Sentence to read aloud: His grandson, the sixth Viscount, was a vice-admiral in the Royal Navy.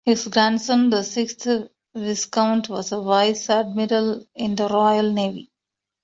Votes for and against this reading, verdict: 2, 1, accepted